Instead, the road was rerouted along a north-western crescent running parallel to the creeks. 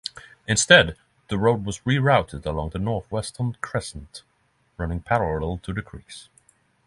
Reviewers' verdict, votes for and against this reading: accepted, 12, 6